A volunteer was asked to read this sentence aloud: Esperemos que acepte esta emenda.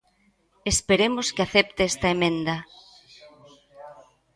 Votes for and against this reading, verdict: 2, 0, accepted